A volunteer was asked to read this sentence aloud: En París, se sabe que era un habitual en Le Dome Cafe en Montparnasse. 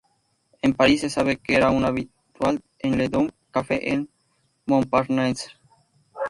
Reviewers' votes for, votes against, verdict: 0, 2, rejected